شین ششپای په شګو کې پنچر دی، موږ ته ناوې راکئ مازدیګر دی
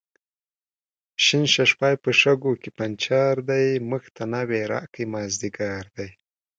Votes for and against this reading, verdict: 4, 0, accepted